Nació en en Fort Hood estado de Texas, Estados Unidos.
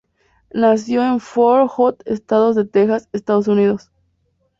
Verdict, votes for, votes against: rejected, 0, 2